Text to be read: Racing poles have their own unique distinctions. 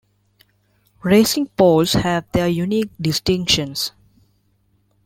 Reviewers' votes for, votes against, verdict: 1, 2, rejected